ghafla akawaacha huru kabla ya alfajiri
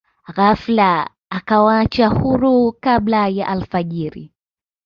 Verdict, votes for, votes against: accepted, 2, 0